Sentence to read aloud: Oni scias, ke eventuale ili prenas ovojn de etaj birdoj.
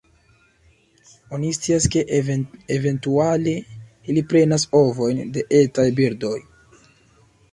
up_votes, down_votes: 2, 1